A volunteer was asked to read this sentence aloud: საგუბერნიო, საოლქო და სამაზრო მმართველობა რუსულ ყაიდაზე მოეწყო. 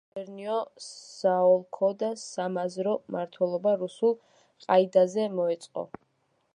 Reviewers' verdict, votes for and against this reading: rejected, 0, 2